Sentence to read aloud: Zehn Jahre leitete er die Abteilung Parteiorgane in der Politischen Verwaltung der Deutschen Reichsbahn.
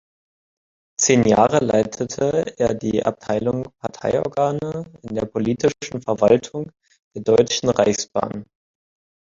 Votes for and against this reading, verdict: 2, 1, accepted